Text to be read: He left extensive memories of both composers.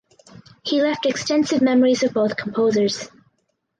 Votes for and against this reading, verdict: 4, 0, accepted